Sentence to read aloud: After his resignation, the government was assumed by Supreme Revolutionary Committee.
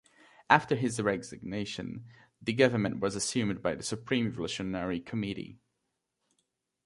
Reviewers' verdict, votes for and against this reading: rejected, 2, 3